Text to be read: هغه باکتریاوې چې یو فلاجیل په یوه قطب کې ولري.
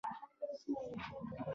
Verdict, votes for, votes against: rejected, 1, 2